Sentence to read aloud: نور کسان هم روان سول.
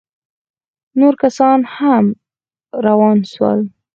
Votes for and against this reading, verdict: 0, 4, rejected